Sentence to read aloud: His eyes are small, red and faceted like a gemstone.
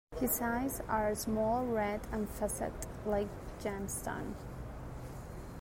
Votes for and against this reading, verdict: 1, 2, rejected